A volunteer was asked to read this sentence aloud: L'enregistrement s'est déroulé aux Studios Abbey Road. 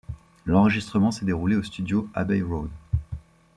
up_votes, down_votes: 3, 1